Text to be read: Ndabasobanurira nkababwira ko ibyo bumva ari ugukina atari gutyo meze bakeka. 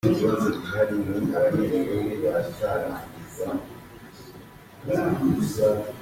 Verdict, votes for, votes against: rejected, 0, 4